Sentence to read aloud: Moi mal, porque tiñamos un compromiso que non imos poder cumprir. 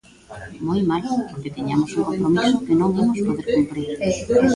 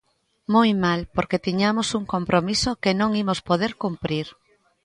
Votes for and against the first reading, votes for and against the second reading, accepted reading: 0, 2, 3, 0, second